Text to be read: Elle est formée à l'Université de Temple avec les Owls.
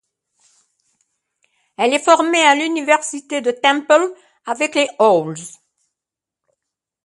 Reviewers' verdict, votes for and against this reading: accepted, 2, 0